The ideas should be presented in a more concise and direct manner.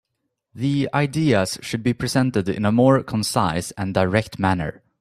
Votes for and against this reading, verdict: 3, 0, accepted